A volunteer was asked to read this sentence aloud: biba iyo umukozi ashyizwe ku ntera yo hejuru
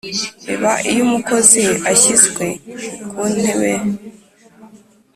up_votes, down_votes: 1, 2